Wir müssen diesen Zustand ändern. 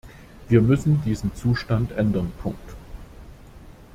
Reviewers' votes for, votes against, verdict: 0, 2, rejected